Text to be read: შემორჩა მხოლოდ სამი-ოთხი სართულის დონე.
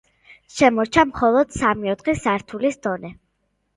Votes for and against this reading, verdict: 2, 0, accepted